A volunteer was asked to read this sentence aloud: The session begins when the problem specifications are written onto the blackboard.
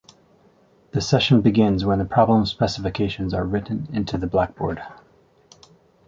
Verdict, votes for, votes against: rejected, 0, 3